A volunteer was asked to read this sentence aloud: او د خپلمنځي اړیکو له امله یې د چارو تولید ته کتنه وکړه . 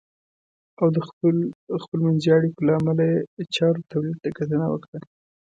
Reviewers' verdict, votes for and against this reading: accepted, 2, 0